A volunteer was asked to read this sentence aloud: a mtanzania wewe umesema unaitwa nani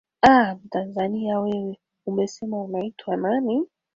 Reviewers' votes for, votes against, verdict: 2, 0, accepted